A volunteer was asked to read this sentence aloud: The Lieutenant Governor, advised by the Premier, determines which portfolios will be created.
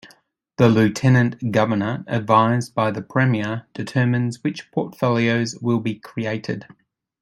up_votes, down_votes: 2, 0